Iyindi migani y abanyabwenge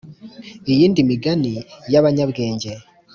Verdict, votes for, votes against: accepted, 2, 0